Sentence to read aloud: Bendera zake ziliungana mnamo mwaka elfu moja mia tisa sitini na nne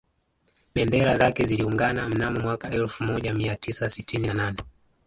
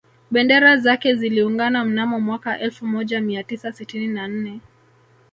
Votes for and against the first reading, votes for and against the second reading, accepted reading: 1, 2, 3, 1, second